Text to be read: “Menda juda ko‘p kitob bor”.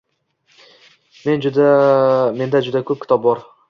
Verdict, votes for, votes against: rejected, 1, 2